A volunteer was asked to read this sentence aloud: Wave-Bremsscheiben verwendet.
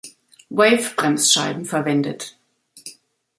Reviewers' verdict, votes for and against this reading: accepted, 2, 0